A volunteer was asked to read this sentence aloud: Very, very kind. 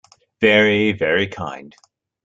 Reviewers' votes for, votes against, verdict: 2, 0, accepted